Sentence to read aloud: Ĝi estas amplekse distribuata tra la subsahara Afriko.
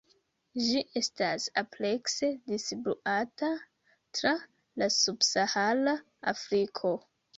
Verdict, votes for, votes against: rejected, 1, 2